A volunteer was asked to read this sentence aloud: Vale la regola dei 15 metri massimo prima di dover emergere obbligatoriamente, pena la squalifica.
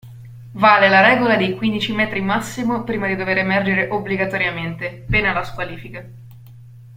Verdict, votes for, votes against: rejected, 0, 2